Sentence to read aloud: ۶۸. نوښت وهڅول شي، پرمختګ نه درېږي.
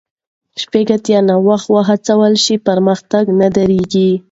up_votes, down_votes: 0, 2